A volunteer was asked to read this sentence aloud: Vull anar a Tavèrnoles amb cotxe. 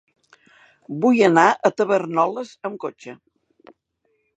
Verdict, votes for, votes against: rejected, 0, 2